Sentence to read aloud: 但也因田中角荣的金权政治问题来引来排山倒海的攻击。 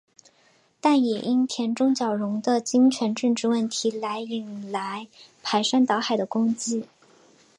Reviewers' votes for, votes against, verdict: 2, 0, accepted